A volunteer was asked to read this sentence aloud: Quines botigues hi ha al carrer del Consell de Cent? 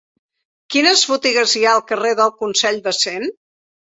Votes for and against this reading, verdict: 2, 0, accepted